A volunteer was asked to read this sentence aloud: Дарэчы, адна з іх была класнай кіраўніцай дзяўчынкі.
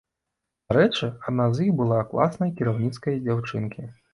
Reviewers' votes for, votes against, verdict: 0, 2, rejected